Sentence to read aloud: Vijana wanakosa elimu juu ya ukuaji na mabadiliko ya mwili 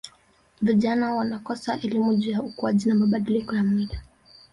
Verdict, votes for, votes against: rejected, 0, 2